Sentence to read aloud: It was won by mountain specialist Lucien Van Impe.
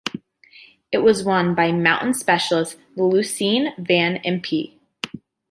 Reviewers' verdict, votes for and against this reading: accepted, 2, 0